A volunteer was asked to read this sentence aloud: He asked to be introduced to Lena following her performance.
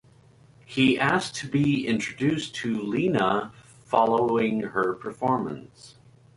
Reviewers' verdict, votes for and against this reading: accepted, 4, 0